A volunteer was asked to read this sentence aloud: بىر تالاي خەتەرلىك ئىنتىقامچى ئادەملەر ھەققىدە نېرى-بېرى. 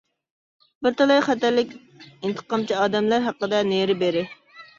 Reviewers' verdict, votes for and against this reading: rejected, 0, 2